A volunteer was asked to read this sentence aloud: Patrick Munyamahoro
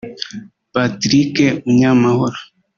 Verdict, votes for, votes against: rejected, 0, 2